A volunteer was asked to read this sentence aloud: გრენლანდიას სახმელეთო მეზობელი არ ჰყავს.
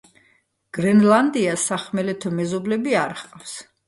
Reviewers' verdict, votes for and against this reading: rejected, 1, 2